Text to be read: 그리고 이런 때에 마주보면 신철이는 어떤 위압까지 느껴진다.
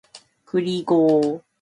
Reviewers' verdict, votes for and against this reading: rejected, 0, 2